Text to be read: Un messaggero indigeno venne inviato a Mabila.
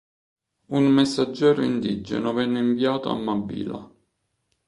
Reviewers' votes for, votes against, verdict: 3, 2, accepted